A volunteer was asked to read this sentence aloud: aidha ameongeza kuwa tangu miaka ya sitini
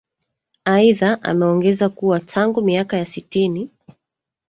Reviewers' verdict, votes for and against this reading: rejected, 1, 2